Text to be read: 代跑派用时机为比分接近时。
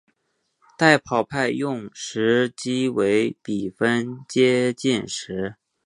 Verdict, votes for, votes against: accepted, 6, 2